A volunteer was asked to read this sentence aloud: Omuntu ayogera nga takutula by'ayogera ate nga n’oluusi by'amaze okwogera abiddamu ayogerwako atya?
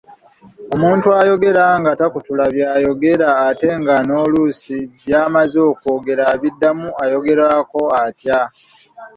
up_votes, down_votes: 2, 0